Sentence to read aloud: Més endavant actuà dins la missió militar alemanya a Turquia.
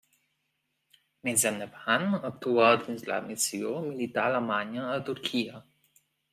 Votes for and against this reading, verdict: 2, 0, accepted